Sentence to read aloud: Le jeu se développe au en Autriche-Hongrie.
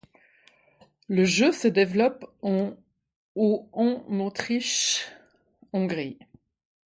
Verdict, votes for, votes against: rejected, 1, 2